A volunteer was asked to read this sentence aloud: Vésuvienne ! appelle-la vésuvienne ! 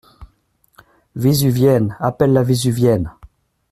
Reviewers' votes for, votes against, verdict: 2, 0, accepted